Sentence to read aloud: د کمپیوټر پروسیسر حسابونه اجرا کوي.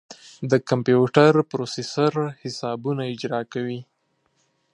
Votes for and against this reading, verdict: 2, 0, accepted